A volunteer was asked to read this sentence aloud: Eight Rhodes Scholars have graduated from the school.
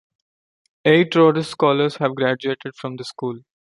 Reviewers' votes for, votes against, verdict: 2, 0, accepted